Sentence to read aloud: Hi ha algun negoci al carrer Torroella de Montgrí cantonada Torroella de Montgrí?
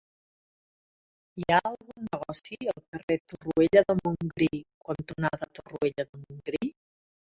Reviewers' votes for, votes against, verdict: 2, 1, accepted